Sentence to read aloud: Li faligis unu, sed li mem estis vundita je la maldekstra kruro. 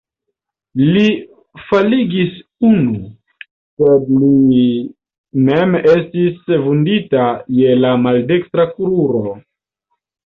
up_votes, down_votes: 1, 2